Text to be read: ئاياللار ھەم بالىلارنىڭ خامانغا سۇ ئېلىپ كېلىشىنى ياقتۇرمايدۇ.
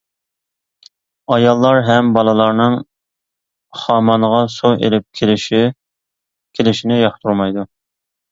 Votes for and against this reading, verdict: 0, 2, rejected